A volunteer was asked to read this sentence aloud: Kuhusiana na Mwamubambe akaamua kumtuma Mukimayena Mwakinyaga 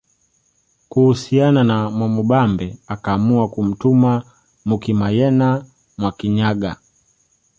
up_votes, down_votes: 2, 0